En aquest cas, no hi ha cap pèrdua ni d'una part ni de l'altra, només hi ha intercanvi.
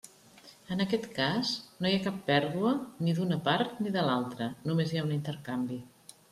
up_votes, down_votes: 0, 2